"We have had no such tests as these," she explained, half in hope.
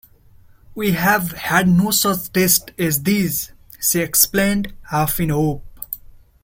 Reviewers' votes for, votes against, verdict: 1, 2, rejected